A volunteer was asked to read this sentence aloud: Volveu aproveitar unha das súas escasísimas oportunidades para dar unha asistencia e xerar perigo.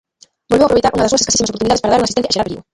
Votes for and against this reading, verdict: 0, 2, rejected